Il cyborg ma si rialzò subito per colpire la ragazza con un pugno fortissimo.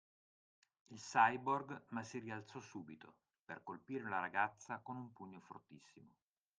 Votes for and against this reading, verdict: 2, 0, accepted